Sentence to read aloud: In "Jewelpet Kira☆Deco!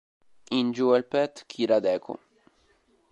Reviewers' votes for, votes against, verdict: 2, 0, accepted